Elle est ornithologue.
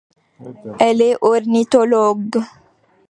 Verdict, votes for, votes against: accepted, 2, 0